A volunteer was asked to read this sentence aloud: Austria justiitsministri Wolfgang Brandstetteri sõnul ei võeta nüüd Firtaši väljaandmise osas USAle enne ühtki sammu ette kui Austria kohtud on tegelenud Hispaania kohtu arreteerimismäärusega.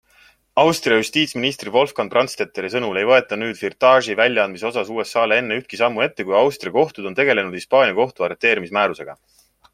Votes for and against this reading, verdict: 2, 0, accepted